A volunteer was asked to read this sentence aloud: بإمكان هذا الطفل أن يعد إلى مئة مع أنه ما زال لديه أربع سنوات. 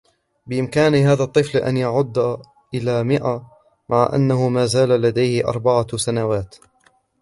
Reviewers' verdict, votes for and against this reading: rejected, 0, 3